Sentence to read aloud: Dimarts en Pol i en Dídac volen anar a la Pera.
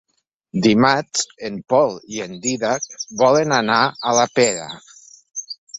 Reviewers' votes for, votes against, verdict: 3, 0, accepted